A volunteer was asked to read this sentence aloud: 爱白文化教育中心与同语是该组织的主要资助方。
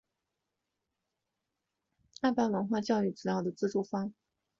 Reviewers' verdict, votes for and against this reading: rejected, 0, 2